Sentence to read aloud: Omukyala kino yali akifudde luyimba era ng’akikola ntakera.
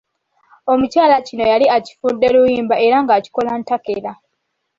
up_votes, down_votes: 0, 2